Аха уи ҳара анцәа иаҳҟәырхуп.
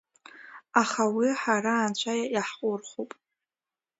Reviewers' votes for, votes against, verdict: 2, 0, accepted